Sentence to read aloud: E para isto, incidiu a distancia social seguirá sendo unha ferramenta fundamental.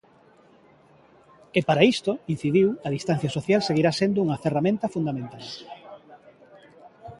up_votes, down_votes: 2, 0